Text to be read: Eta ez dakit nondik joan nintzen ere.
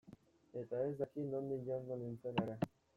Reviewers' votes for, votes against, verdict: 0, 2, rejected